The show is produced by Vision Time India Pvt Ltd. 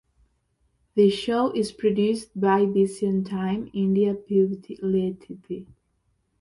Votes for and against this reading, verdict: 2, 1, accepted